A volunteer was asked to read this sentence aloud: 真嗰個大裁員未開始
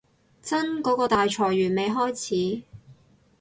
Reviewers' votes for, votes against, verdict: 2, 0, accepted